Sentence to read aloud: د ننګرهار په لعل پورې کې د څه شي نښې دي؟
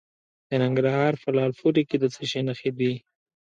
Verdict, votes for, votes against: accepted, 2, 0